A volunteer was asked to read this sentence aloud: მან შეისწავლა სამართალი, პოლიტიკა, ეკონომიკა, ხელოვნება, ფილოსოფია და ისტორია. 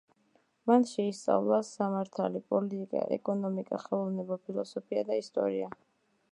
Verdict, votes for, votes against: accepted, 2, 0